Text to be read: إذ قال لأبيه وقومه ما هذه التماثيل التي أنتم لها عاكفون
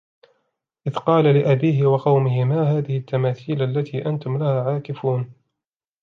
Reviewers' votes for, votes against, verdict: 2, 0, accepted